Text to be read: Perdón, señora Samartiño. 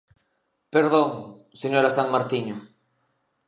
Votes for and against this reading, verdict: 1, 2, rejected